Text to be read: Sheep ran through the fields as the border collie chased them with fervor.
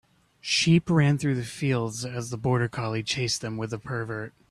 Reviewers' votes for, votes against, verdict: 1, 2, rejected